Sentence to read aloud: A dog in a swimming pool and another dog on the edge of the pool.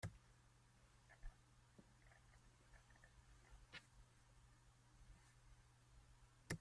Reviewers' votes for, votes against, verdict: 0, 2, rejected